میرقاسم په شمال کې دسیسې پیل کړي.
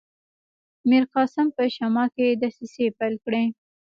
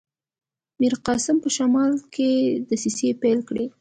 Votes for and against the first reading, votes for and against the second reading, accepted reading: 2, 0, 1, 2, first